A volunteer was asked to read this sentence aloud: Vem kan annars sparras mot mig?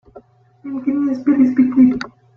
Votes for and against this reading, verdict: 0, 2, rejected